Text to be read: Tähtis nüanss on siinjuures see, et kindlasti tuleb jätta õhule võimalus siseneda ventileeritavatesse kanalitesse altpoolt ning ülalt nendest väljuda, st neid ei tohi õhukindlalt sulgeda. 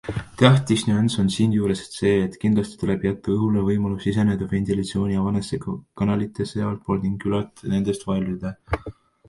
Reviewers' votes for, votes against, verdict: 0, 2, rejected